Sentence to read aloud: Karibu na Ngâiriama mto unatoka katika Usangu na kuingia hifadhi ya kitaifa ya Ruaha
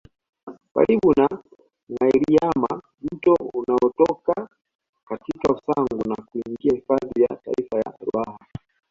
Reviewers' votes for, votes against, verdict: 2, 1, accepted